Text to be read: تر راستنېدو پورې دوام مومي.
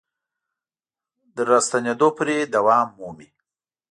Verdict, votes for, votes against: accepted, 2, 0